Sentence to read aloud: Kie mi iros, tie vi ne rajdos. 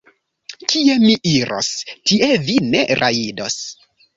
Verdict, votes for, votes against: rejected, 1, 2